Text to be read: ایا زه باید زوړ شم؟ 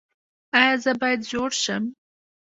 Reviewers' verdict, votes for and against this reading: accepted, 2, 0